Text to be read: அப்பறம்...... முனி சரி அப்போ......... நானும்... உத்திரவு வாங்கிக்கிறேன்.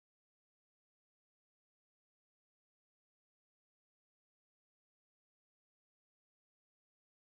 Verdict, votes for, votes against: rejected, 1, 2